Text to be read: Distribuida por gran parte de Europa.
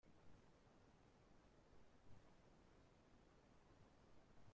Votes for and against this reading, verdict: 0, 2, rejected